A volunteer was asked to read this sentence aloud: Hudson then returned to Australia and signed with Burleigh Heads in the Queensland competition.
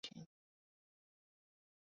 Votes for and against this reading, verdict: 3, 2, accepted